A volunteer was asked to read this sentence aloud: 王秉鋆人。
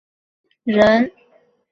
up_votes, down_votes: 0, 2